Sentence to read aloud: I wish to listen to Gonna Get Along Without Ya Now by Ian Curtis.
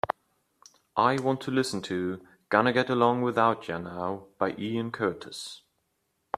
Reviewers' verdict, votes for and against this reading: rejected, 1, 2